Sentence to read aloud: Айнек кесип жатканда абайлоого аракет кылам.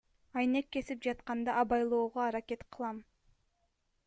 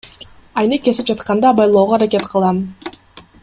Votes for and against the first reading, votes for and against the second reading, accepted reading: 2, 0, 0, 2, first